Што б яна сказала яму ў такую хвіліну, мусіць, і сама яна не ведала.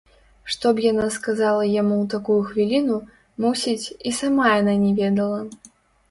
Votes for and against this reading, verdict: 1, 2, rejected